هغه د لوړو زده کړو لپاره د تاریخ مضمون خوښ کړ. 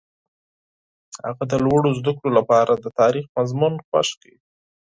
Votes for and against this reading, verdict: 4, 0, accepted